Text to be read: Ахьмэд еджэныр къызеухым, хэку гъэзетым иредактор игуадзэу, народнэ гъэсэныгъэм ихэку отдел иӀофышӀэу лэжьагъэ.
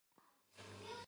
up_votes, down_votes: 0, 2